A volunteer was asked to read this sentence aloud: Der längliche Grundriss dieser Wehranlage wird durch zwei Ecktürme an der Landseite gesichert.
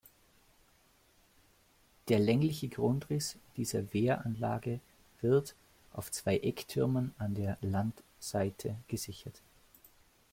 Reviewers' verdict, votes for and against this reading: rejected, 0, 2